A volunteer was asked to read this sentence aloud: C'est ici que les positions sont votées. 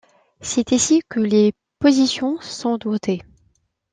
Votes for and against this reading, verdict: 0, 2, rejected